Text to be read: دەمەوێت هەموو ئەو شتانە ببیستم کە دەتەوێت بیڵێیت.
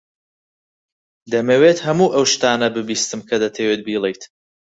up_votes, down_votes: 4, 0